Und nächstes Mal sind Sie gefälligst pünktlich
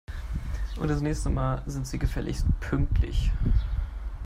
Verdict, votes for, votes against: rejected, 1, 4